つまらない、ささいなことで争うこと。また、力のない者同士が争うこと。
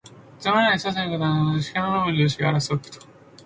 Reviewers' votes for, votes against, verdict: 1, 2, rejected